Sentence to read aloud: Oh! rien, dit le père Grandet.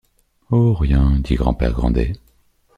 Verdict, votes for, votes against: rejected, 1, 2